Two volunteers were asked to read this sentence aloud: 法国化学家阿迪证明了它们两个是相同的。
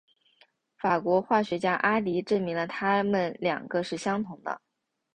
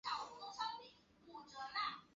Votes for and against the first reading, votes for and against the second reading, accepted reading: 3, 0, 0, 2, first